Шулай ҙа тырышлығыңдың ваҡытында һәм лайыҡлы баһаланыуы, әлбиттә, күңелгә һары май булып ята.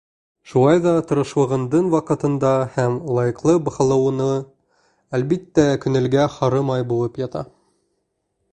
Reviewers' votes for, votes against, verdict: 2, 1, accepted